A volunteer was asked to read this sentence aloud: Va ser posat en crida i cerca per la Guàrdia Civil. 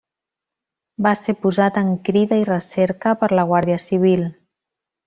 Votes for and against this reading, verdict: 0, 2, rejected